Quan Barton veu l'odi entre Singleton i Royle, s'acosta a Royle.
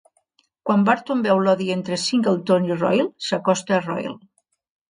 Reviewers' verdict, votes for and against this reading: accepted, 2, 0